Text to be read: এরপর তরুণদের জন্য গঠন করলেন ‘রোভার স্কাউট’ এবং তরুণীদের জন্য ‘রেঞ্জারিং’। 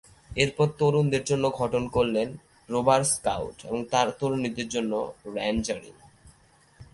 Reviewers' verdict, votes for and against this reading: accepted, 2, 1